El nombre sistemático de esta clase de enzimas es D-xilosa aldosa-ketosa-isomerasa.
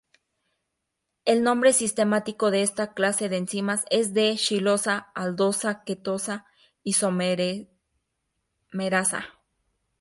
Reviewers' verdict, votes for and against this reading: rejected, 0, 4